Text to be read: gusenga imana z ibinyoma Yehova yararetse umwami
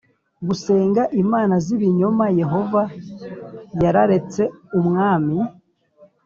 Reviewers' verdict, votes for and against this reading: accepted, 2, 0